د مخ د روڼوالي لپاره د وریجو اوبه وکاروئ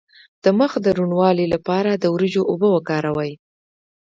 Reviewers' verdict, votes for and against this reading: accepted, 2, 0